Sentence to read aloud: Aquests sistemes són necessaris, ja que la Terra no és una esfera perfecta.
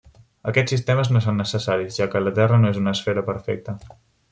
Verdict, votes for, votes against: rejected, 1, 2